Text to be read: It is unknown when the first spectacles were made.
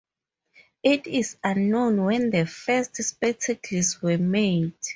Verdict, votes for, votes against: accepted, 4, 0